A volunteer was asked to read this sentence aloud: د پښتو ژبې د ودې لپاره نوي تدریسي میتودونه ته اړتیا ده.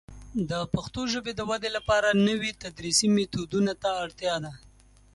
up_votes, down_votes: 2, 0